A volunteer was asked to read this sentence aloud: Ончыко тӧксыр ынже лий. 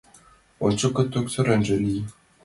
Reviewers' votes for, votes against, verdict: 0, 2, rejected